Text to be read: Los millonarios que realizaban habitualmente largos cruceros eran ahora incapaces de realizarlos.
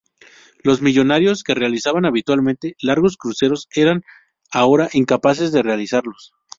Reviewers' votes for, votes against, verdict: 0, 2, rejected